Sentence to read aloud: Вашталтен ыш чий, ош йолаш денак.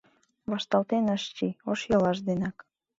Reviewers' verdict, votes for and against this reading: accepted, 2, 0